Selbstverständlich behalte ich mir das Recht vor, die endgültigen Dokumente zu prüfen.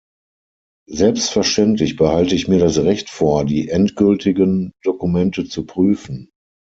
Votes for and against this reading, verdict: 6, 0, accepted